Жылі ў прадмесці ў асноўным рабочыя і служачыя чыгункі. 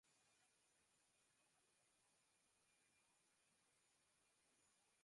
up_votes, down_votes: 0, 2